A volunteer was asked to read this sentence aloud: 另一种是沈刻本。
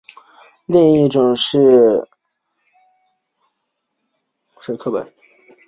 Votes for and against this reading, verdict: 5, 0, accepted